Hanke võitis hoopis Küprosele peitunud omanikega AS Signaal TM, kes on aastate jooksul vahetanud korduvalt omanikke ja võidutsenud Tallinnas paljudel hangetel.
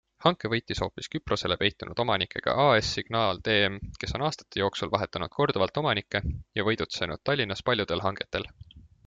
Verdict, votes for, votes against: accepted, 2, 0